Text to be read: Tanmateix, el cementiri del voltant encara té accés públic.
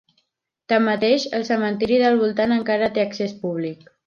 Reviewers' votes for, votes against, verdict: 3, 0, accepted